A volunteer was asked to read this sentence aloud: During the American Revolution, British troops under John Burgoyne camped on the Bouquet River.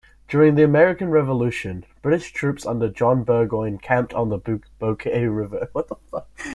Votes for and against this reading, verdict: 0, 2, rejected